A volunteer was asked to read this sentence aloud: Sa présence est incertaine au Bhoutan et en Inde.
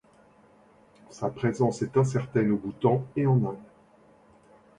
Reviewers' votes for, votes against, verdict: 2, 0, accepted